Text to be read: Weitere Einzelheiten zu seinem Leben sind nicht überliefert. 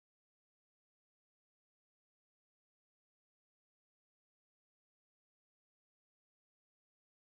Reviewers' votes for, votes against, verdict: 0, 2, rejected